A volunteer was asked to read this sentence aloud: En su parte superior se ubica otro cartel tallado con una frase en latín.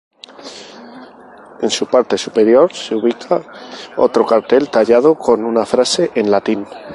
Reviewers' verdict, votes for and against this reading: accepted, 2, 0